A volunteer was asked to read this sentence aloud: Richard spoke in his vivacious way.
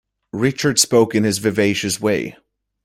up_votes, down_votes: 2, 0